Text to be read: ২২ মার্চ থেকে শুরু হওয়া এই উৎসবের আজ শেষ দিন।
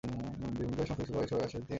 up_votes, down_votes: 0, 2